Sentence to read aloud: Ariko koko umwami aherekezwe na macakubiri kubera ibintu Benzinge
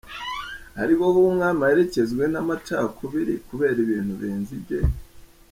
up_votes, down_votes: 0, 2